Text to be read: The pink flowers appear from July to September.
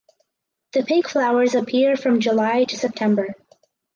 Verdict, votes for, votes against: accepted, 4, 0